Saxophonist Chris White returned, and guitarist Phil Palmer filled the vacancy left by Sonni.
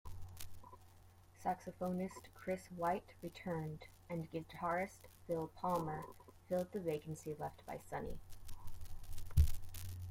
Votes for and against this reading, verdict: 2, 1, accepted